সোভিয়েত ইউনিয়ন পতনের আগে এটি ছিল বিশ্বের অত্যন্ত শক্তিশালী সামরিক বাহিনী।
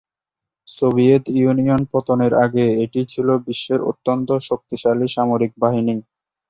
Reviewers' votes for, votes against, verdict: 2, 0, accepted